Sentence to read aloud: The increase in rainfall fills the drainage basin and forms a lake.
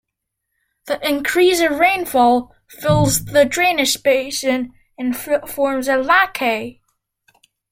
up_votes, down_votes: 0, 2